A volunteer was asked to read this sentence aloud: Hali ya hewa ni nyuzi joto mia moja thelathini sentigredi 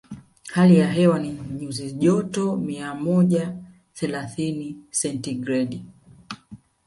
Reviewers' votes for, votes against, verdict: 2, 1, accepted